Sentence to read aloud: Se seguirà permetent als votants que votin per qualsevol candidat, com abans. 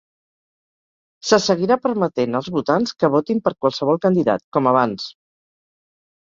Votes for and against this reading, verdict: 4, 0, accepted